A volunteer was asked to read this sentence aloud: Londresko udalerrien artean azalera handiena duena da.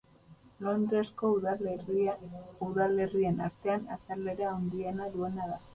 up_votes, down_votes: 0, 2